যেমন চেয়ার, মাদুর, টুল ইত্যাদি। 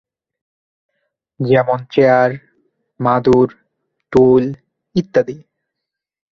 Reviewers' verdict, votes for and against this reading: accepted, 2, 0